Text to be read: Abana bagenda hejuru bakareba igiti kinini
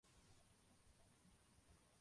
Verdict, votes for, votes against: rejected, 0, 2